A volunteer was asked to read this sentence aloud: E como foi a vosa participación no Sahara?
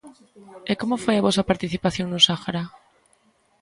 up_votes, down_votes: 2, 0